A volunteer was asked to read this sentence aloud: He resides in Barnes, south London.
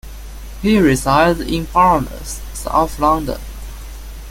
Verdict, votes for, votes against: accepted, 2, 1